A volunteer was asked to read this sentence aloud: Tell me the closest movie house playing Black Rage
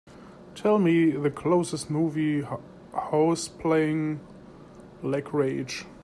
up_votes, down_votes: 0, 2